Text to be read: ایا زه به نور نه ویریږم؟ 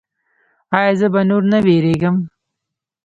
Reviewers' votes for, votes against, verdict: 3, 1, accepted